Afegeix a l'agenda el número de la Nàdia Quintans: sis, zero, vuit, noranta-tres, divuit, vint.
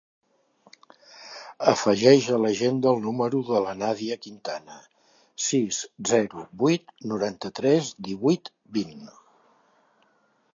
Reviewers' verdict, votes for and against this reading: rejected, 0, 3